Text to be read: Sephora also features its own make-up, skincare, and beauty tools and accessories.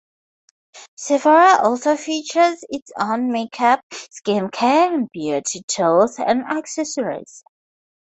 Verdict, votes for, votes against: accepted, 2, 0